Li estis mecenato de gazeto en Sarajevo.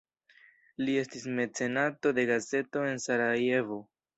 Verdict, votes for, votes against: accepted, 2, 1